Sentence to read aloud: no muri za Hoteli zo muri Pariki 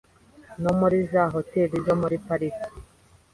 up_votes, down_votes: 3, 0